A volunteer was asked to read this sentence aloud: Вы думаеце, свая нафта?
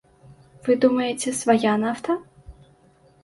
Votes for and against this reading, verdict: 2, 0, accepted